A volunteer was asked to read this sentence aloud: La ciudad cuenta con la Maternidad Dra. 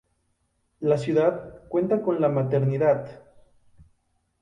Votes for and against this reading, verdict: 0, 2, rejected